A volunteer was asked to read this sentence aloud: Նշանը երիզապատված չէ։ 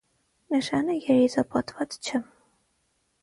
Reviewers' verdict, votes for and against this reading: accepted, 6, 3